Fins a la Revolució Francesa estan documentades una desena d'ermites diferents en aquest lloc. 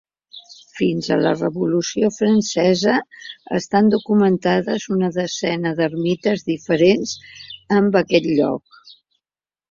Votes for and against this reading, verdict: 2, 1, accepted